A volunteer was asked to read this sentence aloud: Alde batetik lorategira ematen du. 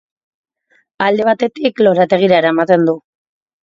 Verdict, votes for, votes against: rejected, 0, 2